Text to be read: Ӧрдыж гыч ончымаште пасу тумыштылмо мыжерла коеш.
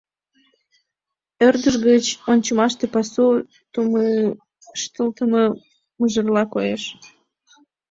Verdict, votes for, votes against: accepted, 2, 1